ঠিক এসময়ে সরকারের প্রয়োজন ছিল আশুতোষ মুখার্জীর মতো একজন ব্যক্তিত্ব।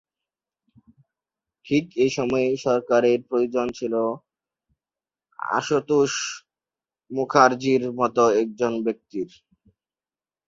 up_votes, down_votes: 0, 3